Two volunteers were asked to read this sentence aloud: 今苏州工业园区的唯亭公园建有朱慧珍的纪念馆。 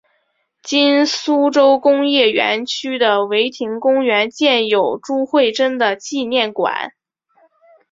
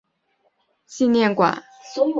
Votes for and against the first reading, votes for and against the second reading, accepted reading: 2, 1, 0, 4, first